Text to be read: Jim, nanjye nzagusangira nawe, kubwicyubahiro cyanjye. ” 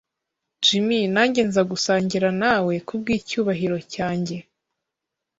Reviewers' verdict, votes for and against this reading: accepted, 2, 0